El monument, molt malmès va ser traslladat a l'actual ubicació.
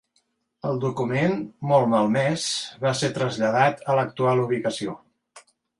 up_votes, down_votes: 0, 2